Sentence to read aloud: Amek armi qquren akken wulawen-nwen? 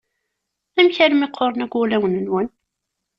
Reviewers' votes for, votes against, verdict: 2, 1, accepted